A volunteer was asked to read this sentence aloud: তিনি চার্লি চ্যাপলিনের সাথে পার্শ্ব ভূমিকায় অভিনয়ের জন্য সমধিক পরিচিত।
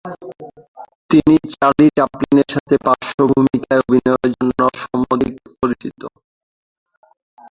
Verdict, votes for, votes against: rejected, 0, 2